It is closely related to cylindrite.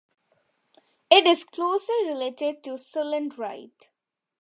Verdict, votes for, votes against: accepted, 2, 0